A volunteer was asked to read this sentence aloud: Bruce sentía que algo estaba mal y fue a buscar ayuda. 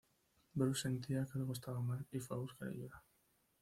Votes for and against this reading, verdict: 1, 2, rejected